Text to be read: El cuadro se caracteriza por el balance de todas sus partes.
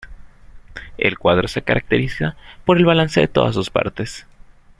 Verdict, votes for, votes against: accepted, 2, 0